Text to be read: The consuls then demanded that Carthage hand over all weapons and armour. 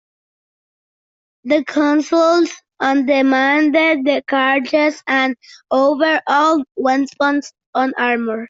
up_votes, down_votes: 1, 2